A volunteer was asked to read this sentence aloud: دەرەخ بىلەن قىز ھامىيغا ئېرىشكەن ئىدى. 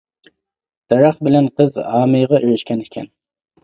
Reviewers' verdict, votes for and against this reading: rejected, 0, 2